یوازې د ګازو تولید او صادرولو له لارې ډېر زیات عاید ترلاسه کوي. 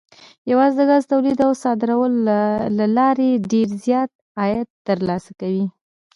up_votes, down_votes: 1, 2